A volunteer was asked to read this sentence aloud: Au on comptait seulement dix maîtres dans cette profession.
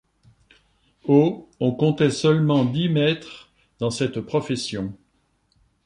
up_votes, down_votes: 2, 0